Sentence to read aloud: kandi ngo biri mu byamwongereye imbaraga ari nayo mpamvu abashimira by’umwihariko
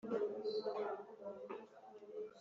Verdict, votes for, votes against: rejected, 0, 2